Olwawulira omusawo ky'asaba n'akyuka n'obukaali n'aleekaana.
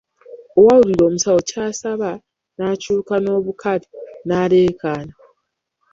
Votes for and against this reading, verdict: 0, 2, rejected